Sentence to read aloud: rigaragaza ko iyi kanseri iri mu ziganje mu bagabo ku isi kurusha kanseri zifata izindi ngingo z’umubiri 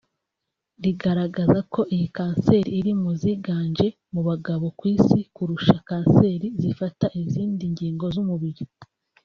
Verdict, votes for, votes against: accepted, 4, 0